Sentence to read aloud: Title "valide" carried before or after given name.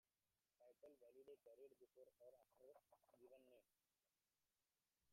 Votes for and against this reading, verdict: 0, 2, rejected